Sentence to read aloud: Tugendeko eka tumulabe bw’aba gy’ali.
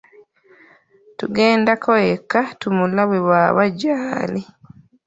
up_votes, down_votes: 1, 2